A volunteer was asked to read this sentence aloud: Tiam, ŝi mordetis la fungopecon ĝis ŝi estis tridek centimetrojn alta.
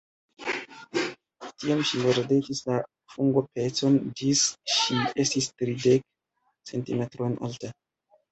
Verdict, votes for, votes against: rejected, 0, 2